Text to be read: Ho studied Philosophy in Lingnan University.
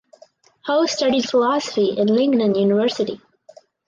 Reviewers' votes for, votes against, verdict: 2, 2, rejected